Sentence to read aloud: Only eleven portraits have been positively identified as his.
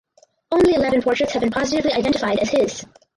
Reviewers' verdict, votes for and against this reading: rejected, 2, 2